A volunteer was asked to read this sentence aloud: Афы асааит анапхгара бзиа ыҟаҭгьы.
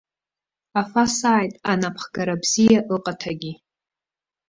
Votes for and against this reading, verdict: 0, 2, rejected